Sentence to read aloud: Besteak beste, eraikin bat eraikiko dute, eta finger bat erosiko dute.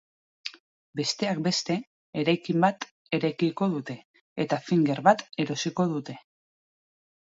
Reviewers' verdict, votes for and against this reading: accepted, 2, 0